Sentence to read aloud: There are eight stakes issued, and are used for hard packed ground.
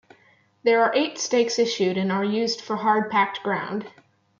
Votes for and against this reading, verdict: 2, 0, accepted